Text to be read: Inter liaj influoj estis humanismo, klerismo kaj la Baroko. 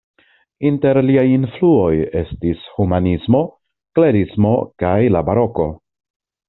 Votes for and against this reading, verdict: 2, 0, accepted